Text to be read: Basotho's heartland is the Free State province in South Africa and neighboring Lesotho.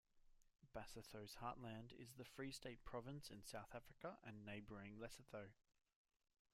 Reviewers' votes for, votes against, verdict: 1, 2, rejected